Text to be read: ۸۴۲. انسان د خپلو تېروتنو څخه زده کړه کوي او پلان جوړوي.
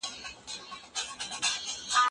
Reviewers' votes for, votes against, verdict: 0, 2, rejected